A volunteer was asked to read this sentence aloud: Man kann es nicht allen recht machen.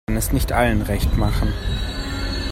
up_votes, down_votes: 0, 3